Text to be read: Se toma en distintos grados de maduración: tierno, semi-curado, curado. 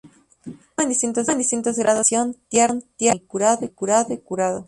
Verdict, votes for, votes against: rejected, 0, 2